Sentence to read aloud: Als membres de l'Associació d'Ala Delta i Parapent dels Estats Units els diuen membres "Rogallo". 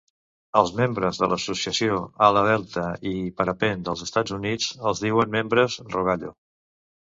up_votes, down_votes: 1, 2